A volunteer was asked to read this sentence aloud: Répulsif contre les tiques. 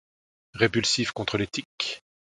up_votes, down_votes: 2, 0